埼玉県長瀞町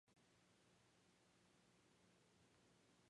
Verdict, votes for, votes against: rejected, 0, 2